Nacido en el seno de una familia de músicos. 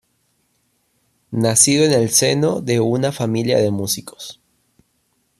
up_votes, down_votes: 2, 1